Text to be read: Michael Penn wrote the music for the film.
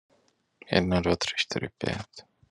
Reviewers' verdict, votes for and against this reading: rejected, 0, 2